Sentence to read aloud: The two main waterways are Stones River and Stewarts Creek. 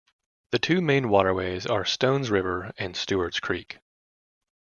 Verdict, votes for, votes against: accepted, 2, 0